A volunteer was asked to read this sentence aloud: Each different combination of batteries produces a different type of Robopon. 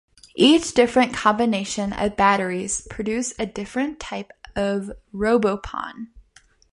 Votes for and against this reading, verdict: 0, 2, rejected